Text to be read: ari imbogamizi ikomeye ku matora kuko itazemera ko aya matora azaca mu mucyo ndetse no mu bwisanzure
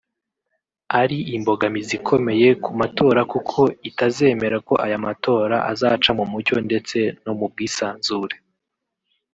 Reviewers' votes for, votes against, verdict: 2, 1, accepted